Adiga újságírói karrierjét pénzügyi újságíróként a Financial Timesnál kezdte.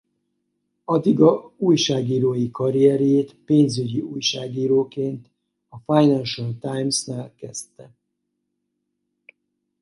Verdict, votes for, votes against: accepted, 4, 0